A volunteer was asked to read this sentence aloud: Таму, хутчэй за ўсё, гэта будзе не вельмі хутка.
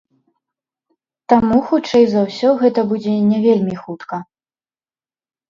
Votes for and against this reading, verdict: 1, 2, rejected